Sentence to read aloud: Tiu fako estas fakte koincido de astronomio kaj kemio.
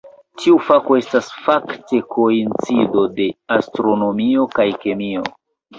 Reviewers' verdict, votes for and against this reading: accepted, 2, 0